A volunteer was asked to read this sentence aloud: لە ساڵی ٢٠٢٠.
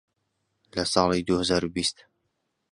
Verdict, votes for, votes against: rejected, 0, 2